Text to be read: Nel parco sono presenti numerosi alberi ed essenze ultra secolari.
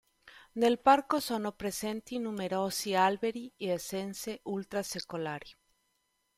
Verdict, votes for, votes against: rejected, 1, 2